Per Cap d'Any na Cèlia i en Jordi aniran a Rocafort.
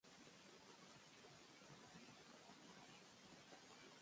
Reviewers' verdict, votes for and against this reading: rejected, 0, 2